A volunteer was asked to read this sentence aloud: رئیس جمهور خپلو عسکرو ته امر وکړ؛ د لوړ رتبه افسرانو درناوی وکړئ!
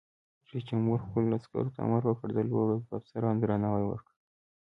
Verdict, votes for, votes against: accepted, 2, 1